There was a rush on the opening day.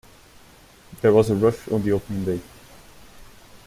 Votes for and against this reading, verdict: 0, 2, rejected